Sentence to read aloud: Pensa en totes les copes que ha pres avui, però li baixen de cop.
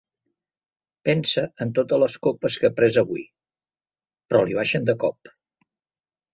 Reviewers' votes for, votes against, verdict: 3, 0, accepted